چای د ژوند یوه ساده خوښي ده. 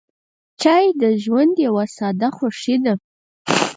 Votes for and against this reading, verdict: 0, 4, rejected